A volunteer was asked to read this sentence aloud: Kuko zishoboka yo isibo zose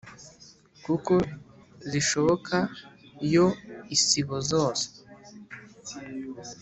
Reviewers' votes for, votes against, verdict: 2, 0, accepted